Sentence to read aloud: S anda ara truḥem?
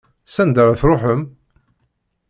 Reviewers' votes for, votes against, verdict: 2, 0, accepted